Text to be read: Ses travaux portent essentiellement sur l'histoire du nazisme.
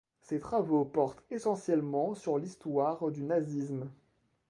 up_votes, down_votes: 0, 2